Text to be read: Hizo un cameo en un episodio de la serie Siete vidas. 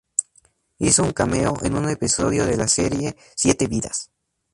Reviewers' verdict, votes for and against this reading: rejected, 2, 2